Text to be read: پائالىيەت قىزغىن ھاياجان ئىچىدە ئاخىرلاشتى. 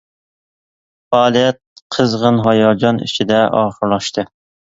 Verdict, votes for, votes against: accepted, 2, 0